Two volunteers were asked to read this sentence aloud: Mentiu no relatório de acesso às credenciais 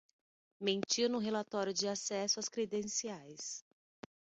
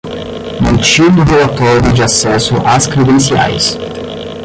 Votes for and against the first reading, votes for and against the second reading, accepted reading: 3, 0, 5, 10, first